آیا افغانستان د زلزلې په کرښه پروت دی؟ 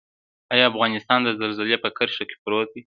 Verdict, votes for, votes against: accepted, 2, 0